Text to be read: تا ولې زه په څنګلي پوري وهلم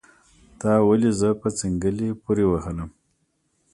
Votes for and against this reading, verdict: 2, 0, accepted